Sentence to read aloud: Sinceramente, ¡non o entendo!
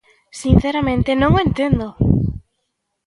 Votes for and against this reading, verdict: 2, 0, accepted